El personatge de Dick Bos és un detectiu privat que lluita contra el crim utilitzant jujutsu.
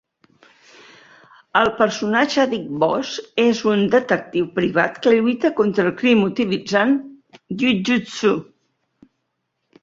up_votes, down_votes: 0, 2